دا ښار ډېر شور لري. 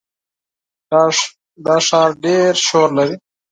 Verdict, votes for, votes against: rejected, 2, 4